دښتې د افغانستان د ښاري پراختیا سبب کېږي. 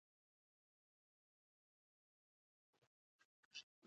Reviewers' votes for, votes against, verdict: 1, 2, rejected